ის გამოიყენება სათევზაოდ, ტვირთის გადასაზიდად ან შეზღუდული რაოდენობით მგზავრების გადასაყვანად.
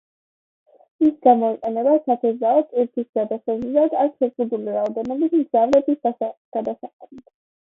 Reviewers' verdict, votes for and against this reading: rejected, 0, 2